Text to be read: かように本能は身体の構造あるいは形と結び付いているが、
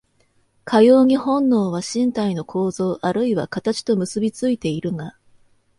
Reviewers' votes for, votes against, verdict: 2, 0, accepted